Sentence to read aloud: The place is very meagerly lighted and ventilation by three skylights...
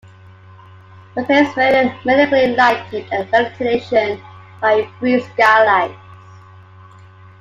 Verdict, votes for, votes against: rejected, 1, 2